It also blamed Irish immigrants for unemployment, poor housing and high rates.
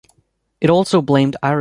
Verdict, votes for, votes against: rejected, 1, 2